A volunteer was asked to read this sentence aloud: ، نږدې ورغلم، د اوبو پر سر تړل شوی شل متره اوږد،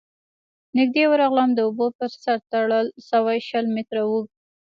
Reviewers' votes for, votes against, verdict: 1, 2, rejected